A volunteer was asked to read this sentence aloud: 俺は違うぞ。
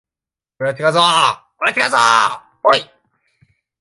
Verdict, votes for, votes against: rejected, 0, 2